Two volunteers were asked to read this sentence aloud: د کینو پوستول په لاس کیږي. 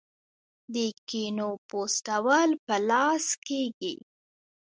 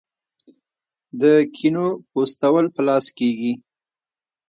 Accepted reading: second